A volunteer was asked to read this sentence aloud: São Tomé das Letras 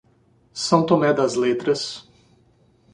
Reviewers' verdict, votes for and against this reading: accepted, 2, 0